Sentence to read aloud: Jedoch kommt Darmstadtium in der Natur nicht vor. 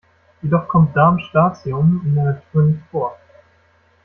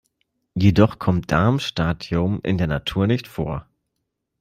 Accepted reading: second